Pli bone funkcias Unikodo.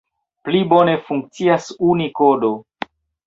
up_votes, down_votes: 2, 0